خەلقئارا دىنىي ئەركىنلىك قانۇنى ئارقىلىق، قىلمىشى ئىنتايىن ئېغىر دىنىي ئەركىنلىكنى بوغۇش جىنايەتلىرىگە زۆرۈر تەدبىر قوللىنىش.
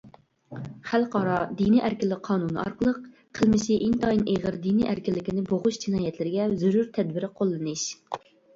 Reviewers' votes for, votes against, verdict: 1, 2, rejected